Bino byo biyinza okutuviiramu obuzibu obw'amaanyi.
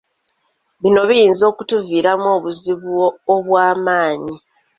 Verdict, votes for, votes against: accepted, 2, 1